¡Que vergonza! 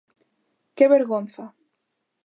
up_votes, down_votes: 2, 0